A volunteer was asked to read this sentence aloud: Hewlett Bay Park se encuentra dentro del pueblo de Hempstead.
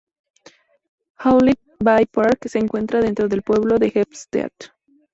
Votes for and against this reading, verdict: 2, 0, accepted